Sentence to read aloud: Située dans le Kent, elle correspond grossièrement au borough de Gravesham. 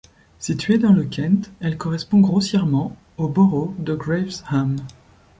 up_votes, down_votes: 2, 0